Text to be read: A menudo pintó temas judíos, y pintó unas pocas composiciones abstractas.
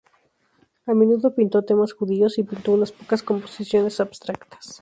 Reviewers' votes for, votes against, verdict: 0, 2, rejected